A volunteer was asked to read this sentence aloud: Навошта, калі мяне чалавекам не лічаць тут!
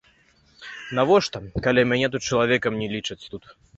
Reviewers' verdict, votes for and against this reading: rejected, 0, 2